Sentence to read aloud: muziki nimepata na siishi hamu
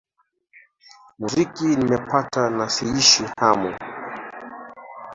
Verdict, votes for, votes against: accepted, 2, 1